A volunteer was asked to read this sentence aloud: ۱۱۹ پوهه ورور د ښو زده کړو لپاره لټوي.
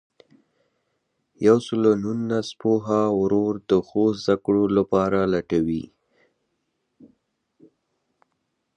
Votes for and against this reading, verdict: 0, 2, rejected